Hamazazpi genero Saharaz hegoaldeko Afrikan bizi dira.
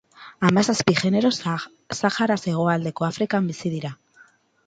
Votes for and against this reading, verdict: 2, 2, rejected